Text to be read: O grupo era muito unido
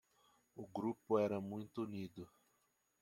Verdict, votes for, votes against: accepted, 2, 0